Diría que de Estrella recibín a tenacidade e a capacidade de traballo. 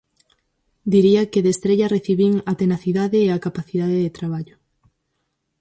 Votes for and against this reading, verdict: 4, 0, accepted